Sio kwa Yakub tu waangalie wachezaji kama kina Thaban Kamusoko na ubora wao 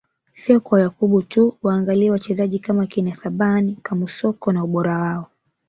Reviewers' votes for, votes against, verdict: 1, 2, rejected